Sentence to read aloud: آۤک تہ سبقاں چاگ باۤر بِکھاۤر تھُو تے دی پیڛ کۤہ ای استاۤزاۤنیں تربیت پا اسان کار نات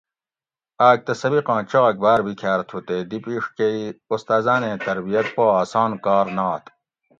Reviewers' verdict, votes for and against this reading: accepted, 2, 0